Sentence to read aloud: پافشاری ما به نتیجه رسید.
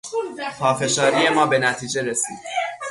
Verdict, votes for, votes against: rejected, 3, 3